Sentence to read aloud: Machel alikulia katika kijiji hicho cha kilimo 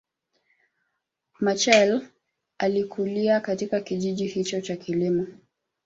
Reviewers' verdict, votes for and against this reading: rejected, 0, 2